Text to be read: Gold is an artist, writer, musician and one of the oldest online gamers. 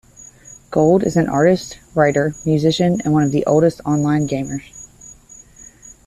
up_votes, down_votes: 2, 0